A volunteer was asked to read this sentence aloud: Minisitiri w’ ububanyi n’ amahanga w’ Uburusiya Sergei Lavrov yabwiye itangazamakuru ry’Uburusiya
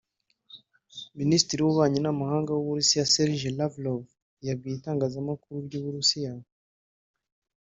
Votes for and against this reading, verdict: 0, 2, rejected